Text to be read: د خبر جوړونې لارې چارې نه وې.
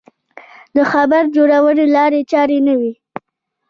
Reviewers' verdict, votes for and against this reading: rejected, 0, 2